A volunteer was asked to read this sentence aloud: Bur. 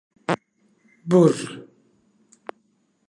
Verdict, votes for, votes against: accepted, 2, 0